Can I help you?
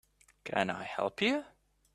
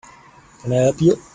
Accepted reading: first